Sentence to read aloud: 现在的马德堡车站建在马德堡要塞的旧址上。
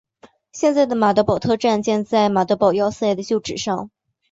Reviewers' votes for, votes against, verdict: 4, 2, accepted